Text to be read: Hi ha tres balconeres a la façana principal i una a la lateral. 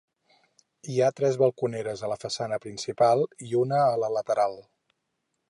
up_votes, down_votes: 4, 0